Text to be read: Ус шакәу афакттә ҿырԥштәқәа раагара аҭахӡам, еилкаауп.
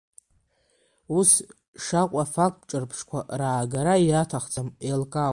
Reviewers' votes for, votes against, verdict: 2, 0, accepted